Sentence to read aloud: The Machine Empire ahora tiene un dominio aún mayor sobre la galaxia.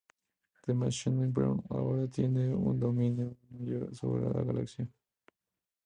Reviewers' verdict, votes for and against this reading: rejected, 0, 2